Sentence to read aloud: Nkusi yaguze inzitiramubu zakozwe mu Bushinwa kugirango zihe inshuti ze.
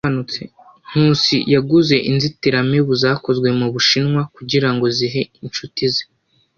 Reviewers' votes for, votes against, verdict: 1, 2, rejected